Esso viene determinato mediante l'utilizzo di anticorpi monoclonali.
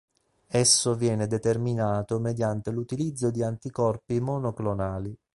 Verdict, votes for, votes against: accepted, 2, 0